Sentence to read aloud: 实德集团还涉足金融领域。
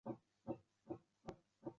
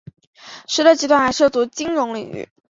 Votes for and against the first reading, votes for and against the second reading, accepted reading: 1, 3, 4, 0, second